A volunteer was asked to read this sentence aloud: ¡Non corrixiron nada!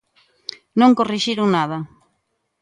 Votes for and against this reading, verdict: 2, 0, accepted